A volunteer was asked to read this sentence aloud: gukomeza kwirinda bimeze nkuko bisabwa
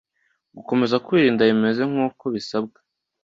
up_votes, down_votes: 2, 0